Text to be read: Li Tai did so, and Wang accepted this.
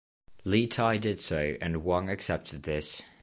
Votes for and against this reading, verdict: 2, 0, accepted